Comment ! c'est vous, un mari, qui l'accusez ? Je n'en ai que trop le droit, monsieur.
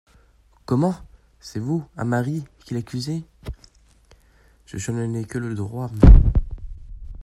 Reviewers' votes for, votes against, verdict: 0, 2, rejected